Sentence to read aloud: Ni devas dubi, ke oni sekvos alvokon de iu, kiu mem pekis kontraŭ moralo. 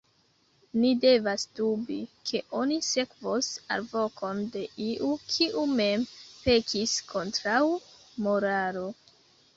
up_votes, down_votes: 2, 0